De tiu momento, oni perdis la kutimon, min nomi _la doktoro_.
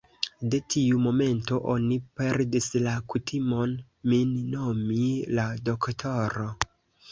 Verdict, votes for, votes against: accepted, 2, 0